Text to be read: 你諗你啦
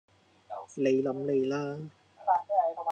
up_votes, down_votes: 2, 0